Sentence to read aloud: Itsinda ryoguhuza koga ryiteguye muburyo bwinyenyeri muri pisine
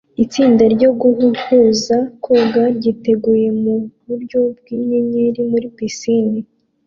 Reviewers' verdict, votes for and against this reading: accepted, 2, 0